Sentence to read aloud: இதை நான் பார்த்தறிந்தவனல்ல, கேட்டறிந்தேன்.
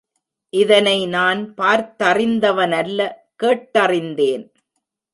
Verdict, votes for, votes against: rejected, 0, 2